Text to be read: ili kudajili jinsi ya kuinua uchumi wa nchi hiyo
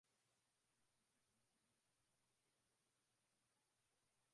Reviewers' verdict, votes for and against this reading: rejected, 0, 2